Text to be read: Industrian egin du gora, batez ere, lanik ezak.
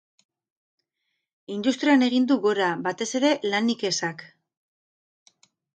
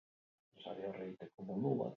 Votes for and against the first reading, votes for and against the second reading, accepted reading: 4, 0, 0, 2, first